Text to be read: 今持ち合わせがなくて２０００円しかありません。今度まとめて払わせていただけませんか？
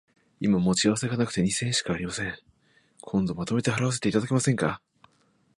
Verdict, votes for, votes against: rejected, 0, 2